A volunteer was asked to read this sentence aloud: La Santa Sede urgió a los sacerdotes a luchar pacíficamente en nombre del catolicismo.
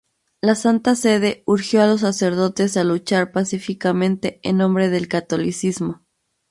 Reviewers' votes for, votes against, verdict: 2, 0, accepted